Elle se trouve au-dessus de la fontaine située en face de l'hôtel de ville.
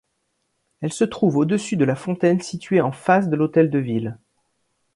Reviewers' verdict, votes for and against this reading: accepted, 3, 0